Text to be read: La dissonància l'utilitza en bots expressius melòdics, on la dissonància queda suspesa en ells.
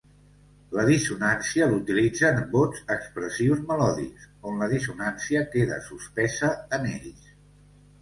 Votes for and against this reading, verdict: 3, 0, accepted